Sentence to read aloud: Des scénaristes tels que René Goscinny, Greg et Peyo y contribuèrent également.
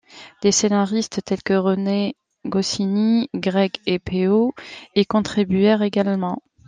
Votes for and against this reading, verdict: 2, 1, accepted